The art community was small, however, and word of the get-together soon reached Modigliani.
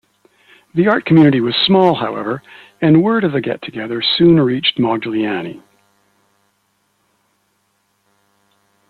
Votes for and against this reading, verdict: 2, 0, accepted